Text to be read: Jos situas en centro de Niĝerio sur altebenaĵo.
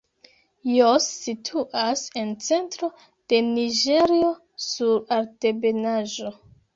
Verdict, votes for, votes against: accepted, 2, 0